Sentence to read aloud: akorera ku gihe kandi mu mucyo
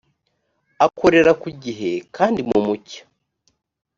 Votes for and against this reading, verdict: 4, 0, accepted